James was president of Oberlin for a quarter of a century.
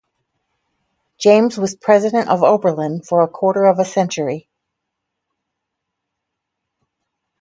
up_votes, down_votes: 4, 0